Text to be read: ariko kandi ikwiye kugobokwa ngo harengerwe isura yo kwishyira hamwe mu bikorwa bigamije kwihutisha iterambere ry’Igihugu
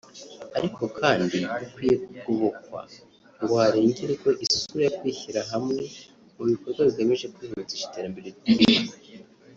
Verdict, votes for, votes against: rejected, 1, 3